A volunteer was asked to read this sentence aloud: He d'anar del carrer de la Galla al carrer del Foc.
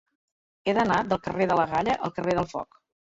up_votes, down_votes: 2, 0